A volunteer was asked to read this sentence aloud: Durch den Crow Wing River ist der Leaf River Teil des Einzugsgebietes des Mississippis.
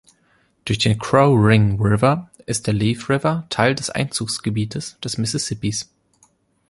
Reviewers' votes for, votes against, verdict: 3, 0, accepted